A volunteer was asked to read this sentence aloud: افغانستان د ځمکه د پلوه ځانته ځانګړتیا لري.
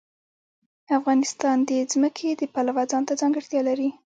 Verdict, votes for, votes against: accepted, 2, 0